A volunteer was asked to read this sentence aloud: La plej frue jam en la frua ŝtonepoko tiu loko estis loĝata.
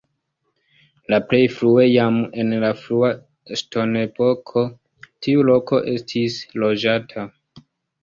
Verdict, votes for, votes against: accepted, 2, 0